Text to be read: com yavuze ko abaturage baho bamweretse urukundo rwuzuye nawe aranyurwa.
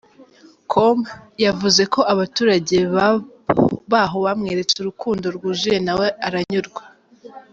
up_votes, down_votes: 0, 2